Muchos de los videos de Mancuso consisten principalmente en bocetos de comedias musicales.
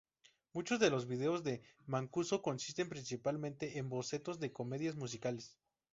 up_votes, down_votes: 4, 0